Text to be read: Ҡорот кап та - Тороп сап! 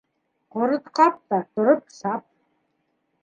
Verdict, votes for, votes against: accepted, 2, 0